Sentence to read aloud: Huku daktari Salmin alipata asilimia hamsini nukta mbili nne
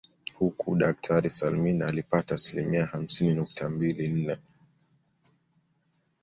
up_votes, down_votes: 2, 0